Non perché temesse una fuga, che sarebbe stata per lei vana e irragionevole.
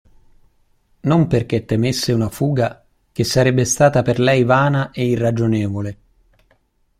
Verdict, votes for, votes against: accepted, 2, 0